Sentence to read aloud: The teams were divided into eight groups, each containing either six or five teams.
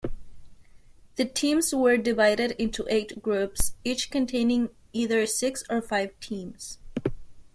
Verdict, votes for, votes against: accepted, 2, 0